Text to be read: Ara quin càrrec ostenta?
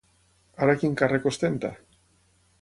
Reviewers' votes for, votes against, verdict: 9, 0, accepted